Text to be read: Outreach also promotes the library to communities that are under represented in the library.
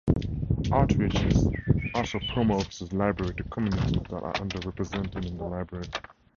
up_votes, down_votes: 2, 2